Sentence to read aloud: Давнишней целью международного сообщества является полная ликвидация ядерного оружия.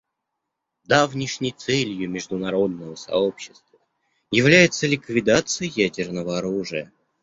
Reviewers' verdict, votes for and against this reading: rejected, 0, 2